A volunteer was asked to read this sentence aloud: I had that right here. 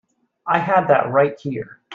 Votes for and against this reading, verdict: 2, 0, accepted